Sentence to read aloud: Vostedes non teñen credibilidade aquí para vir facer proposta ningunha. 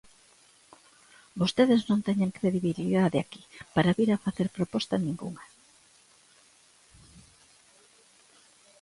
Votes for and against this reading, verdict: 1, 2, rejected